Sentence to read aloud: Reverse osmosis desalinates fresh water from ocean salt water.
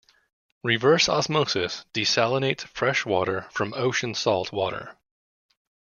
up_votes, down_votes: 2, 0